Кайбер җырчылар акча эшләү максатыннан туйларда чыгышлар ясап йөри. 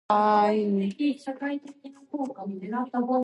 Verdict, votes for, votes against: rejected, 0, 2